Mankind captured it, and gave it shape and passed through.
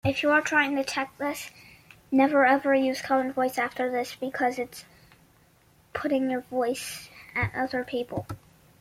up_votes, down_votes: 0, 2